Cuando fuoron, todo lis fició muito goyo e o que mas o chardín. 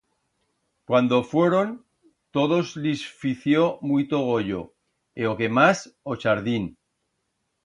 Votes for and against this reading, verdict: 1, 2, rejected